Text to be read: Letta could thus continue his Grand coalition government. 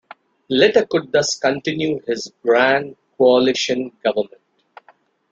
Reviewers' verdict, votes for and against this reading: accepted, 2, 0